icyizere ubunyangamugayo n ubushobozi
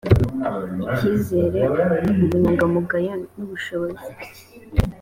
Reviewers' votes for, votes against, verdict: 3, 0, accepted